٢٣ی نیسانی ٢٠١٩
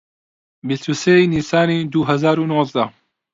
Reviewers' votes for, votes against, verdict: 0, 2, rejected